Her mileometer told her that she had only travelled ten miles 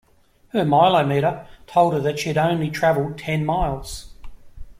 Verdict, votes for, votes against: accepted, 2, 0